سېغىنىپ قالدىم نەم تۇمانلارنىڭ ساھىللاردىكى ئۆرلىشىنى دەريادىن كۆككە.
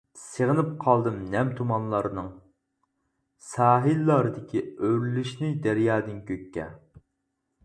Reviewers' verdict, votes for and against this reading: accepted, 4, 0